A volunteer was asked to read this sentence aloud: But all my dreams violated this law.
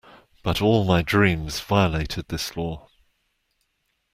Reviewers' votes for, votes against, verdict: 2, 0, accepted